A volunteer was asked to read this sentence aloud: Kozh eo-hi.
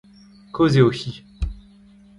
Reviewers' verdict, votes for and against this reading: accepted, 2, 0